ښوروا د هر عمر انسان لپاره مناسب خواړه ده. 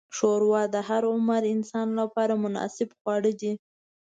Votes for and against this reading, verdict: 2, 0, accepted